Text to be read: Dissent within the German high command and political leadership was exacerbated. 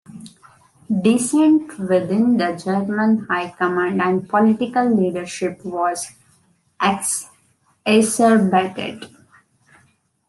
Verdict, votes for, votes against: rejected, 0, 2